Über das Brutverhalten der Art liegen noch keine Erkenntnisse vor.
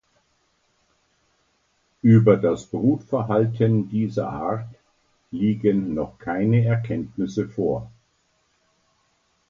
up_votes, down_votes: 0, 2